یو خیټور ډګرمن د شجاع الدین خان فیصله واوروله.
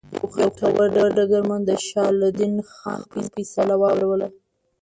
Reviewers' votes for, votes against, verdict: 1, 2, rejected